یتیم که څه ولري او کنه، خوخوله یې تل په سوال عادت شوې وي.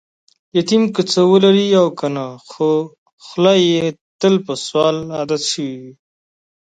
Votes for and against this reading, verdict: 2, 0, accepted